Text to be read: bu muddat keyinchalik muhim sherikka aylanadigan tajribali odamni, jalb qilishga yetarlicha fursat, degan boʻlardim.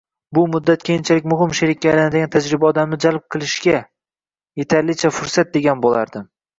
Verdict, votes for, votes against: rejected, 0, 2